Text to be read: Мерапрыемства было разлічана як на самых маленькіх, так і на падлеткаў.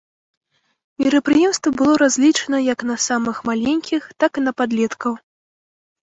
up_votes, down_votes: 3, 0